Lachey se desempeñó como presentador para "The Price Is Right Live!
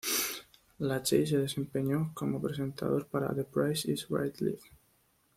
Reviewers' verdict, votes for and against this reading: accepted, 2, 0